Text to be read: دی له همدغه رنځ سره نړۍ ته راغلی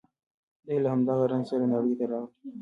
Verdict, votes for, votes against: rejected, 0, 2